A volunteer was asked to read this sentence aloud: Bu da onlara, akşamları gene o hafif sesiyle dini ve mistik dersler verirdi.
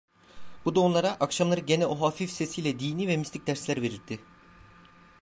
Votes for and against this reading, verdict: 2, 0, accepted